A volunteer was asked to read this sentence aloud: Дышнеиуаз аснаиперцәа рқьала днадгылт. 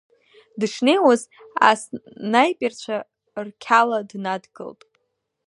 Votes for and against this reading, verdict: 1, 2, rejected